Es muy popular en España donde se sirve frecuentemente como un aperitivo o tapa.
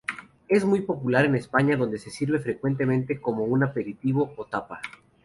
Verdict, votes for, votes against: accepted, 2, 0